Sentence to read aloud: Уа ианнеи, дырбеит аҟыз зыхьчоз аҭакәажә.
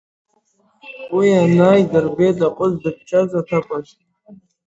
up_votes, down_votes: 3, 8